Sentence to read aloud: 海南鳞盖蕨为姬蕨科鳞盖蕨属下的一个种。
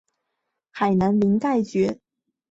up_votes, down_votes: 2, 3